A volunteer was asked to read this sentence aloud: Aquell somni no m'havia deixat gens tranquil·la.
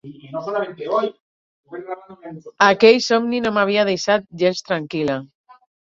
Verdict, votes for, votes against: rejected, 2, 8